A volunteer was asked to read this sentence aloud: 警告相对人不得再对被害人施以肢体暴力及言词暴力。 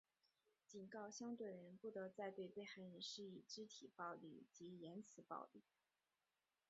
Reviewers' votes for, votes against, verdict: 1, 2, rejected